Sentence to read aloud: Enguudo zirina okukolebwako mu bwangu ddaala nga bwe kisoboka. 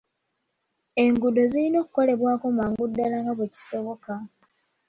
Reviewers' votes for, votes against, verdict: 1, 2, rejected